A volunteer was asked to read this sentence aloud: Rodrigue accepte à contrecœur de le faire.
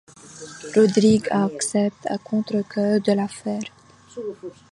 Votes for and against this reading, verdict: 1, 2, rejected